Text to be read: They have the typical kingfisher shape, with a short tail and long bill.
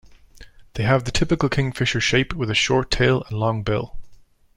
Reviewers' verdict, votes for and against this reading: accepted, 2, 0